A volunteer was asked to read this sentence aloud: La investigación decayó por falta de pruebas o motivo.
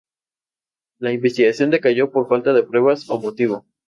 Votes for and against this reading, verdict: 2, 0, accepted